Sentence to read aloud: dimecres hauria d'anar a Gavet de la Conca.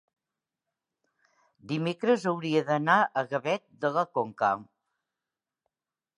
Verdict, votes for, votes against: accepted, 3, 0